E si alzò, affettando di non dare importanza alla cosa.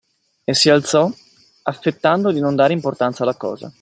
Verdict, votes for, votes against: accepted, 2, 0